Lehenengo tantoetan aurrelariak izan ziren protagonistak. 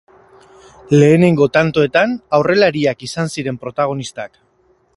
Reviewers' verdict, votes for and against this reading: accepted, 4, 0